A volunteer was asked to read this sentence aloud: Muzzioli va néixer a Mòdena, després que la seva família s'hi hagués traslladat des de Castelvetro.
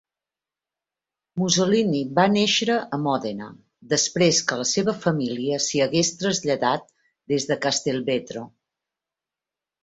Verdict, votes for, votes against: rejected, 0, 2